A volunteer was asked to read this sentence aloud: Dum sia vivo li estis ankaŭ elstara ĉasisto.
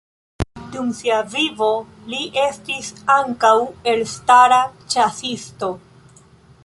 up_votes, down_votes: 2, 0